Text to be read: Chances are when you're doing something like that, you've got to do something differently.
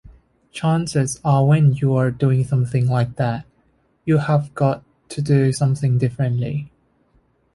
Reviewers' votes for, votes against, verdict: 0, 2, rejected